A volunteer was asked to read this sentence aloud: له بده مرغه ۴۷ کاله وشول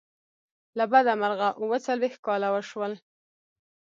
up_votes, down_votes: 0, 2